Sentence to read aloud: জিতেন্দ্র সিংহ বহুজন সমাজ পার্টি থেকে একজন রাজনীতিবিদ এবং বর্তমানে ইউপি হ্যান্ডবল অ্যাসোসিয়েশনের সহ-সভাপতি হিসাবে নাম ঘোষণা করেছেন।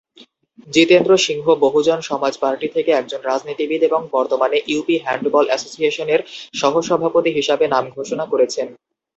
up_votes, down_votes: 2, 0